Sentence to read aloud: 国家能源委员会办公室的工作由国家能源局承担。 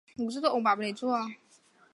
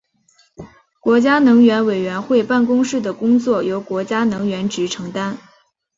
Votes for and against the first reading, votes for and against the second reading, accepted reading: 0, 2, 2, 1, second